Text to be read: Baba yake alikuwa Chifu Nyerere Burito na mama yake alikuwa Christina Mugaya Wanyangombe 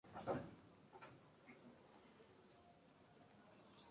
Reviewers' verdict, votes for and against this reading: rejected, 0, 2